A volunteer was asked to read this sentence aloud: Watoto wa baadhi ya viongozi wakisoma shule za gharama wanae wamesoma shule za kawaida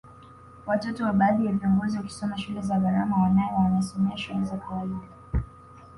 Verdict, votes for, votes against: accepted, 2, 1